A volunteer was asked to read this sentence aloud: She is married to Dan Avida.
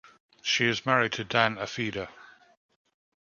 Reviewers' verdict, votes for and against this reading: rejected, 1, 2